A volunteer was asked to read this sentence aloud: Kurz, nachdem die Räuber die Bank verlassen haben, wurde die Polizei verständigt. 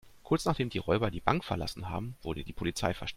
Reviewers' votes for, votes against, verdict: 1, 2, rejected